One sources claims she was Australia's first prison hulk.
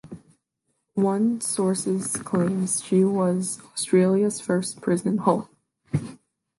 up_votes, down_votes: 2, 0